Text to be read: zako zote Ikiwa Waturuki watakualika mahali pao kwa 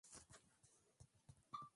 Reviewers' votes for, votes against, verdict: 3, 7, rejected